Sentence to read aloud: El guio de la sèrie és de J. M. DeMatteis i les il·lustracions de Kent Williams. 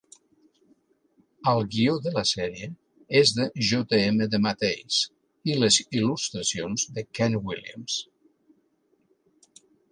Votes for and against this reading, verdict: 2, 0, accepted